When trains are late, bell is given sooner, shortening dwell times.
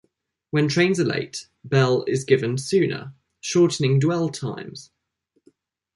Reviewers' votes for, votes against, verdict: 2, 0, accepted